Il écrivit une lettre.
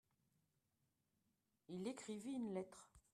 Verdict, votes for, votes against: accepted, 2, 1